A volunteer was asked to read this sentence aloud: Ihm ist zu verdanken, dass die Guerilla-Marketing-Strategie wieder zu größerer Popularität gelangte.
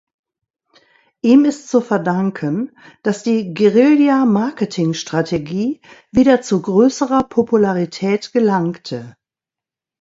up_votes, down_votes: 2, 0